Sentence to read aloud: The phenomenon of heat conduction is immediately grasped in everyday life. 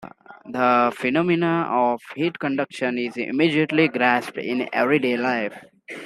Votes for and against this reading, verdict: 2, 1, accepted